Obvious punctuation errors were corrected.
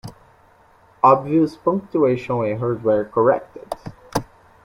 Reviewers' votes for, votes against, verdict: 1, 2, rejected